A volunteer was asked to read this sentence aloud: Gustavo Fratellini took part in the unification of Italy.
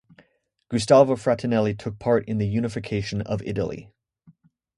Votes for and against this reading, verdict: 0, 2, rejected